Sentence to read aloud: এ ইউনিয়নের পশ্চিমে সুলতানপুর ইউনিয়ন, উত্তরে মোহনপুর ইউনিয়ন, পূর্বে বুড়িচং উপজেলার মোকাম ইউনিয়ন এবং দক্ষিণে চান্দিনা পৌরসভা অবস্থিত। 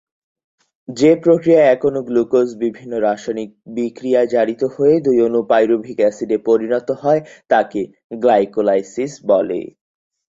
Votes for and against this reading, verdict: 0, 2, rejected